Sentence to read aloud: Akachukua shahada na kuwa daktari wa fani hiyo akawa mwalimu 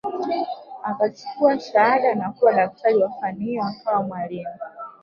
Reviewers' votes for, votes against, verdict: 0, 2, rejected